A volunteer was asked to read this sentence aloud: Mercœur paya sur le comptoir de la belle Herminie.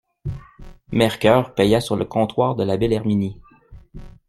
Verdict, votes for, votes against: accepted, 2, 0